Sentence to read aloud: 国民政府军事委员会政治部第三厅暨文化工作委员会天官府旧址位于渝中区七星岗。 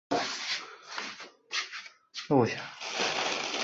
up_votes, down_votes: 2, 6